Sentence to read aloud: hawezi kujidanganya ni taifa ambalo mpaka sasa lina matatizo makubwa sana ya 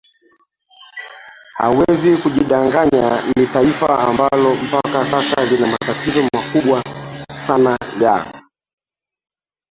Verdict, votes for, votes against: rejected, 0, 3